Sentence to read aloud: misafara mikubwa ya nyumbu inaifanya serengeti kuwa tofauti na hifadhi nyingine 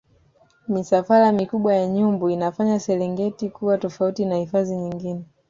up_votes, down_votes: 2, 0